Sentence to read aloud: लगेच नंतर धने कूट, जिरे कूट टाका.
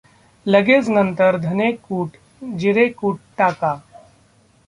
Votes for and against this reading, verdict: 2, 1, accepted